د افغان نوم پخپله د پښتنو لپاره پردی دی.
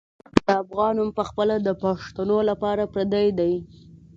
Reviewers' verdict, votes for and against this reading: accepted, 2, 0